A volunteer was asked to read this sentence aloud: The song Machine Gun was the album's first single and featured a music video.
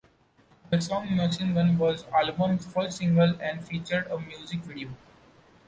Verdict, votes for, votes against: rejected, 1, 2